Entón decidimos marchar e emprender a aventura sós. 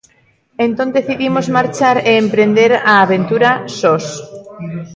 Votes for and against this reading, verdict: 2, 1, accepted